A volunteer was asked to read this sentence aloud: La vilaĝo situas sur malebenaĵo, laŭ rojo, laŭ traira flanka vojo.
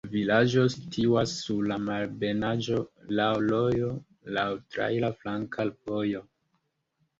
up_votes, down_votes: 2, 1